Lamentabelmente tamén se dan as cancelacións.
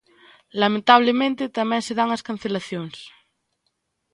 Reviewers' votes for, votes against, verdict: 1, 3, rejected